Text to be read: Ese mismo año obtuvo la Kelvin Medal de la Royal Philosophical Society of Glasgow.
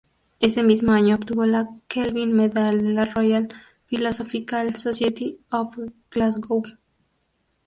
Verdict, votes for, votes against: rejected, 0, 2